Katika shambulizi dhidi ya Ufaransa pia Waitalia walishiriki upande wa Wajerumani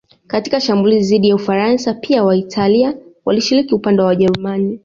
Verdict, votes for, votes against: accepted, 2, 0